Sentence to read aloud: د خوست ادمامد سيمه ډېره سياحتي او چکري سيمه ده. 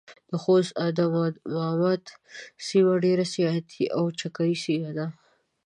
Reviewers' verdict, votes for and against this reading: rejected, 0, 2